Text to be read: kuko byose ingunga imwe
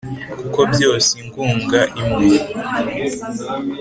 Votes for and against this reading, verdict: 2, 0, accepted